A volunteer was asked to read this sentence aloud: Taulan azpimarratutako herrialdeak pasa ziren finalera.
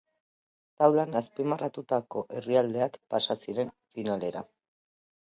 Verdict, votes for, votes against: accepted, 2, 0